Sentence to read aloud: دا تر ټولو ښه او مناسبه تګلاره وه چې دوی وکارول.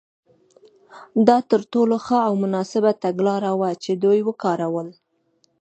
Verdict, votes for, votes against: accepted, 2, 0